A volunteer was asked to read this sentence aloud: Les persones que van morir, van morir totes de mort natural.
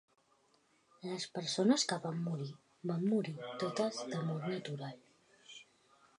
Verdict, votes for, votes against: accepted, 2, 0